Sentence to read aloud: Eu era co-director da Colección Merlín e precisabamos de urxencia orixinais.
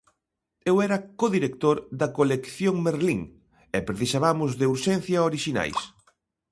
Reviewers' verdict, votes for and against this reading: accepted, 2, 0